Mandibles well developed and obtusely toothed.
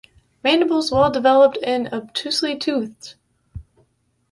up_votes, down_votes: 2, 0